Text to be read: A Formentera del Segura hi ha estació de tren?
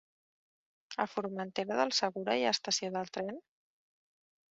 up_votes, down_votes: 0, 2